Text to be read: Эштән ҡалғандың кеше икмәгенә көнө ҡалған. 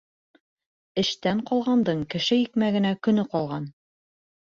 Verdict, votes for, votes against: accepted, 2, 0